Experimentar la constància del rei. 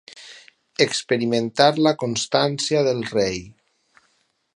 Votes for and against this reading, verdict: 4, 0, accepted